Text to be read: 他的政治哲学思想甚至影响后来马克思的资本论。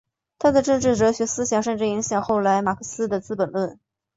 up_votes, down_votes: 2, 0